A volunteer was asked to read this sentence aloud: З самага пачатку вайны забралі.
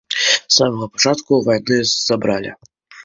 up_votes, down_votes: 2, 0